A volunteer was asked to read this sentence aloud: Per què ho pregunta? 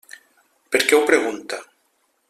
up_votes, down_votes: 1, 2